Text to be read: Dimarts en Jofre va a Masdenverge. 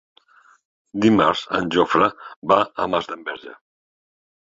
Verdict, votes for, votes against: accepted, 3, 0